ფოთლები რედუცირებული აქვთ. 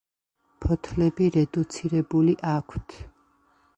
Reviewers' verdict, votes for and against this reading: accepted, 2, 0